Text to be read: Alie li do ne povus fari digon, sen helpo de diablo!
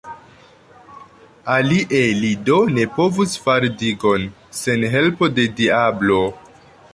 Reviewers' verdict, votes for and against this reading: accepted, 2, 0